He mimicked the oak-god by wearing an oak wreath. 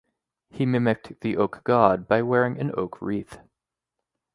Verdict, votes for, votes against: accepted, 2, 0